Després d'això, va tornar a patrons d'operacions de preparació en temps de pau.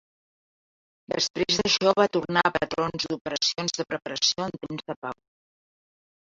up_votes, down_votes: 0, 2